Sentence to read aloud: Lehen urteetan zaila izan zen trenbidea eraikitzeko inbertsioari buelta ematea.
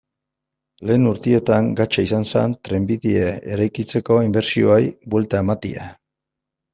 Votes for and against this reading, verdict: 0, 2, rejected